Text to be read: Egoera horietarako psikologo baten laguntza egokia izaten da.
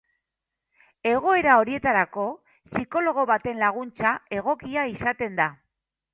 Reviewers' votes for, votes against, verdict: 2, 0, accepted